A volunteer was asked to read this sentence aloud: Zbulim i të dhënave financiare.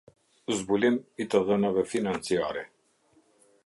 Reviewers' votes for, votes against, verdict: 2, 0, accepted